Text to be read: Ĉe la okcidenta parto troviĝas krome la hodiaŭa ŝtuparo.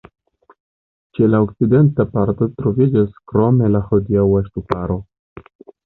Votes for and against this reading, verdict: 1, 2, rejected